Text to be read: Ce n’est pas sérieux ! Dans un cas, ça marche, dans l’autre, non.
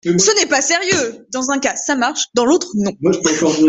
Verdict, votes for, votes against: rejected, 0, 2